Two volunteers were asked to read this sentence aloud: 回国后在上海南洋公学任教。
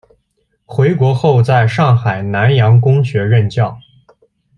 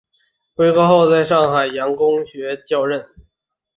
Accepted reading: first